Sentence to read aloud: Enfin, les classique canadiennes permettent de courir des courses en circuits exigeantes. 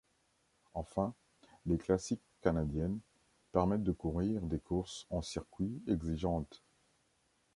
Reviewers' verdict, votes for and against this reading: accepted, 2, 0